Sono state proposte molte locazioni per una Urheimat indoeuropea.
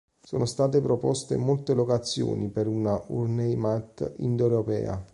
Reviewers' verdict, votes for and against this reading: rejected, 1, 2